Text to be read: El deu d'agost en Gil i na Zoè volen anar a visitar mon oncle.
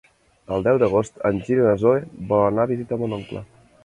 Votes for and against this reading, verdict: 2, 3, rejected